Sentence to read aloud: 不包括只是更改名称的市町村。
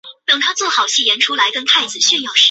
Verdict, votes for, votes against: rejected, 1, 3